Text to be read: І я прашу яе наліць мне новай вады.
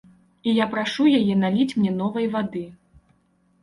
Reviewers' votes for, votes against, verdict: 2, 0, accepted